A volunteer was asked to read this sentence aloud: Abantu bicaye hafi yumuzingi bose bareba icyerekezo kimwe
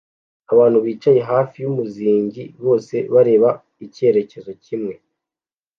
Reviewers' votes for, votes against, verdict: 2, 0, accepted